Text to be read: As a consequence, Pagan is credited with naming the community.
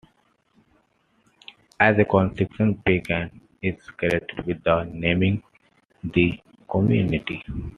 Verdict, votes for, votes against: accepted, 2, 1